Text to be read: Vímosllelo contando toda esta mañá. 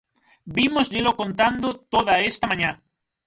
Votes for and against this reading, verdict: 3, 3, rejected